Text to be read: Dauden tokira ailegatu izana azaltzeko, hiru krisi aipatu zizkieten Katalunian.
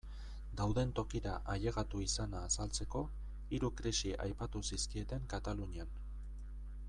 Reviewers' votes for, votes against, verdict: 0, 2, rejected